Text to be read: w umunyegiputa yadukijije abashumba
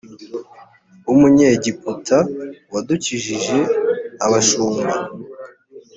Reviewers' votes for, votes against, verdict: 0, 2, rejected